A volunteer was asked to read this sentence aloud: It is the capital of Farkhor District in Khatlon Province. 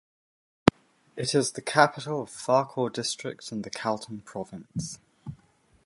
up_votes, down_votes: 1, 2